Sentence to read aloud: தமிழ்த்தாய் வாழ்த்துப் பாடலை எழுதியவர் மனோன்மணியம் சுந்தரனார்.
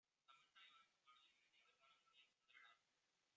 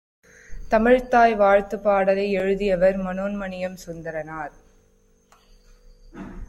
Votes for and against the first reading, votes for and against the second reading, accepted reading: 1, 2, 2, 1, second